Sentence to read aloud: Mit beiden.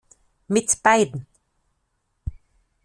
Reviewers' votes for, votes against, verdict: 2, 0, accepted